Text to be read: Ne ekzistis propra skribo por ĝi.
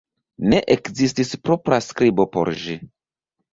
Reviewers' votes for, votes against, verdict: 2, 0, accepted